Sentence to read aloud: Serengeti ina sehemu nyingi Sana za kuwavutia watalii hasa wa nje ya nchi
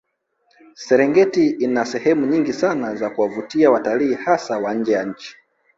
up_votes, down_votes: 1, 2